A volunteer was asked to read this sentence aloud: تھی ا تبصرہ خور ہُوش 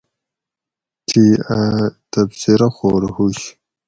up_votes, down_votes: 4, 0